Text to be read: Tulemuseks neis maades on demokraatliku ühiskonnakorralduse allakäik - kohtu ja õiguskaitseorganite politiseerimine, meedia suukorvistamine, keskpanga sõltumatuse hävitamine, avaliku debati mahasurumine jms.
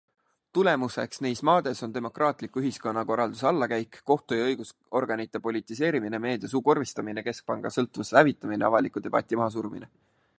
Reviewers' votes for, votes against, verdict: 2, 0, accepted